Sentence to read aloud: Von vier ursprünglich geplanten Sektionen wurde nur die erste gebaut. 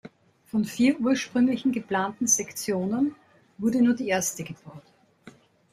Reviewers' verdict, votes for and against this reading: accepted, 3, 0